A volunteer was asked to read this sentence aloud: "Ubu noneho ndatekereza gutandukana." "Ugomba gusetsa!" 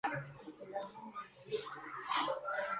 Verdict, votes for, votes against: rejected, 1, 2